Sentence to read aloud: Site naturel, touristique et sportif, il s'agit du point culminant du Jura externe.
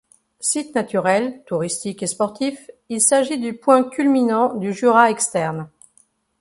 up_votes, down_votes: 2, 0